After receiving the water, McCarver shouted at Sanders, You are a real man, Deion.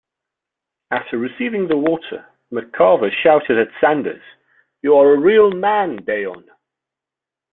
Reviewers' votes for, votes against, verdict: 2, 0, accepted